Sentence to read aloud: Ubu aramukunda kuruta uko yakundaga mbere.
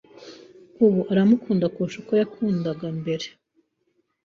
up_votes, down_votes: 1, 2